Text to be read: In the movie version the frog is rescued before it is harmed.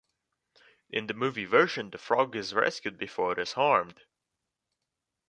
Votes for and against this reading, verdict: 2, 0, accepted